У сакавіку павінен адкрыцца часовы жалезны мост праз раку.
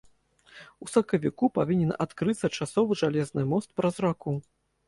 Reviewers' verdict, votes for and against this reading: accepted, 2, 0